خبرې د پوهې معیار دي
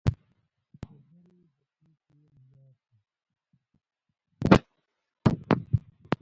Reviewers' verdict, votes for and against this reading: rejected, 0, 2